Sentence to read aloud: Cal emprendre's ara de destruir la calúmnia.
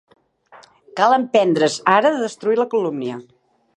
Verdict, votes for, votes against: rejected, 1, 2